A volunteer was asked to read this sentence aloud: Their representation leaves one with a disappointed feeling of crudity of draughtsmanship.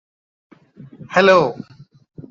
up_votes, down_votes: 0, 2